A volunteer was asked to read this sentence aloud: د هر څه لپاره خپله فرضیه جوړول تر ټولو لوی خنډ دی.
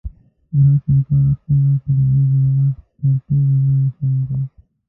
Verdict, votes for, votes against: rejected, 0, 2